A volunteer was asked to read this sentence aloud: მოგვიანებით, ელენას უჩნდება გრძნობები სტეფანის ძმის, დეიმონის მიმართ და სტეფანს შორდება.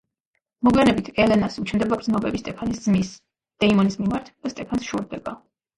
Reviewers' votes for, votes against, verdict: 2, 0, accepted